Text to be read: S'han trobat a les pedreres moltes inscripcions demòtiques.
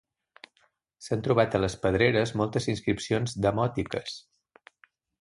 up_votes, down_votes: 2, 0